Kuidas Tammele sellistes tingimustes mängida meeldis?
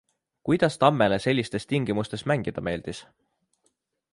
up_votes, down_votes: 2, 0